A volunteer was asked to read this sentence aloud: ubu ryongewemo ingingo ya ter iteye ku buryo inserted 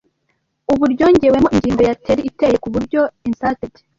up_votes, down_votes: 0, 2